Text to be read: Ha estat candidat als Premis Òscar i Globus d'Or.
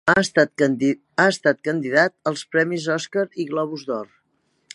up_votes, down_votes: 2, 5